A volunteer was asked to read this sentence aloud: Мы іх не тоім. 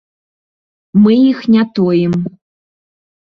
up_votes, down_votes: 2, 0